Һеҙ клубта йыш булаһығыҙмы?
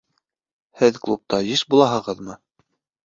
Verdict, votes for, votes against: accepted, 2, 0